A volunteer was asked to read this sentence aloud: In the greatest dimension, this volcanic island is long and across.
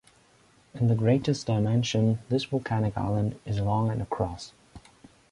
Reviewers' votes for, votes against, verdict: 2, 0, accepted